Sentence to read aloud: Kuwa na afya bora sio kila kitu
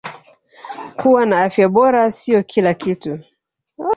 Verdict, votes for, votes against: rejected, 0, 2